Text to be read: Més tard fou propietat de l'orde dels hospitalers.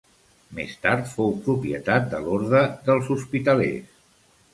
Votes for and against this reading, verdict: 2, 0, accepted